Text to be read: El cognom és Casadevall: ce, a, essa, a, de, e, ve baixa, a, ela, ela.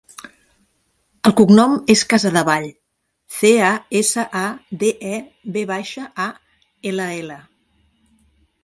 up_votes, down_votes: 1, 2